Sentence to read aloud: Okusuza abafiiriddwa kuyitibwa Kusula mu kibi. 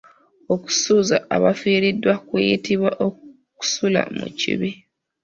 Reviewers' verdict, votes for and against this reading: accepted, 2, 1